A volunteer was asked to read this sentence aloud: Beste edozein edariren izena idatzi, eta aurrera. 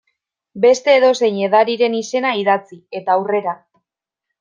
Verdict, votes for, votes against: accepted, 2, 0